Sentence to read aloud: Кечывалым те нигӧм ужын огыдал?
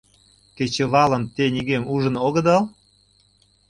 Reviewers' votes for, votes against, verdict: 2, 0, accepted